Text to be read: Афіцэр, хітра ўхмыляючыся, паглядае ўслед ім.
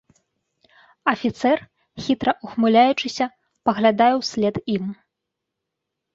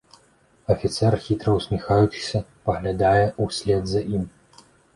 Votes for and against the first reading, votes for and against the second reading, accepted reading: 2, 0, 0, 2, first